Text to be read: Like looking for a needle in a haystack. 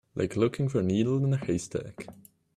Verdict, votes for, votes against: accepted, 2, 0